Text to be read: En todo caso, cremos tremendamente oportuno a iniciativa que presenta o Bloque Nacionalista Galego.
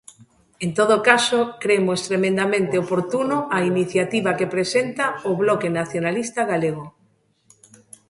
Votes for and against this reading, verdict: 2, 0, accepted